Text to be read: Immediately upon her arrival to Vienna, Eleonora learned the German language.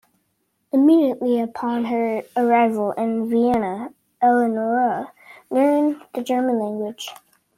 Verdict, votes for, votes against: rejected, 0, 3